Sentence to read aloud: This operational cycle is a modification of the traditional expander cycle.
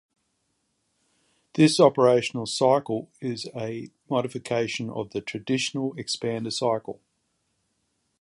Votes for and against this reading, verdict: 2, 0, accepted